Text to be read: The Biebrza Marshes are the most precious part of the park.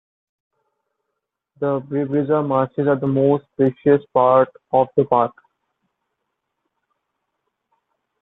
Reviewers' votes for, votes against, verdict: 1, 2, rejected